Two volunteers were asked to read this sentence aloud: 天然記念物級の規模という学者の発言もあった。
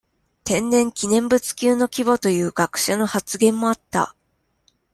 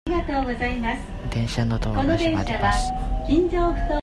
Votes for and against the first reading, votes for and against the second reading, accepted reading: 2, 0, 0, 2, first